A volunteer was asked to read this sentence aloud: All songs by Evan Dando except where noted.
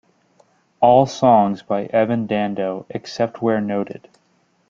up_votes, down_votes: 2, 0